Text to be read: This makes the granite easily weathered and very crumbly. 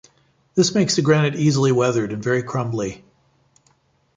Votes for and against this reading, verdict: 2, 0, accepted